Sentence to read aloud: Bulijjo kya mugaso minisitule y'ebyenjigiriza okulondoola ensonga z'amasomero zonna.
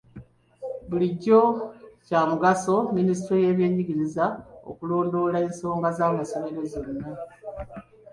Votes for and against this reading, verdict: 2, 0, accepted